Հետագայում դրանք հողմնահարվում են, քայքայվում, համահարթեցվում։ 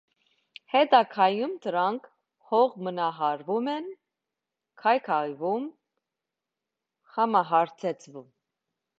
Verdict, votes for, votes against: rejected, 1, 2